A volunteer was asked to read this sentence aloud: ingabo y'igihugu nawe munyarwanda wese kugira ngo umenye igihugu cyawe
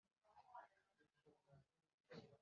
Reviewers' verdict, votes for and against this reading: rejected, 1, 2